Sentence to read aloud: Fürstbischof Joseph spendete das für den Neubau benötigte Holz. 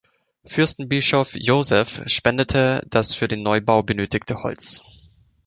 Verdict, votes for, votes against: rejected, 1, 2